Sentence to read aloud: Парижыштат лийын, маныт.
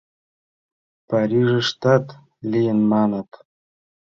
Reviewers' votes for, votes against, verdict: 2, 0, accepted